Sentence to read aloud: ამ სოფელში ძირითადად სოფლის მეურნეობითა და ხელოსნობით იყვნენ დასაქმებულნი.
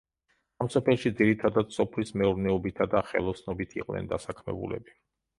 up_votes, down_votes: 0, 2